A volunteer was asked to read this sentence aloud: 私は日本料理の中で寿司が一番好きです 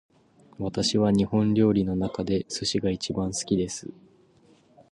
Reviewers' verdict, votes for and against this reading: accepted, 2, 0